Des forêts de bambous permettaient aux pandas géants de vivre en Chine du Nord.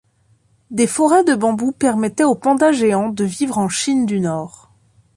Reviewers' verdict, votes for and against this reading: accepted, 2, 0